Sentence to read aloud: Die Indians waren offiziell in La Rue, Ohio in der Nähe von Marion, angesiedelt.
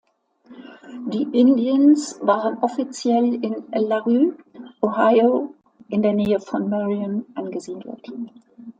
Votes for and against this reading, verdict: 2, 0, accepted